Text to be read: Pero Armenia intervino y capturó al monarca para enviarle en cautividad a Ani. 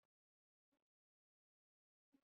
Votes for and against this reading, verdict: 1, 2, rejected